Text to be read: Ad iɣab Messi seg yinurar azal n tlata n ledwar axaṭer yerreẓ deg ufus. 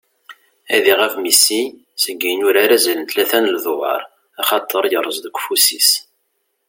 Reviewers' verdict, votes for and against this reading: rejected, 0, 2